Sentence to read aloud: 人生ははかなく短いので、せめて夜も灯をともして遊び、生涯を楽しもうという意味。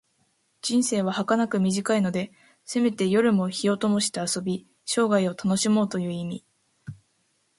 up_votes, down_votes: 2, 0